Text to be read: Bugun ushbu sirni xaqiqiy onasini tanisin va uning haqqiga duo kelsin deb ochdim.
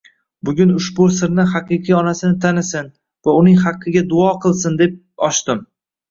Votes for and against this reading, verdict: 1, 2, rejected